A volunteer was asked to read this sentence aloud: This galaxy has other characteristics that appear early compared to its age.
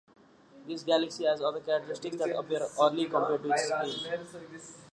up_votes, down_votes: 0, 2